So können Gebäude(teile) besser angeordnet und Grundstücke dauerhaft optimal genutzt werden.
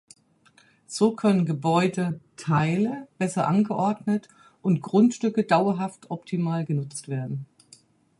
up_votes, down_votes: 4, 0